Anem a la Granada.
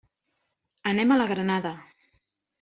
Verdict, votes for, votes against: accepted, 3, 0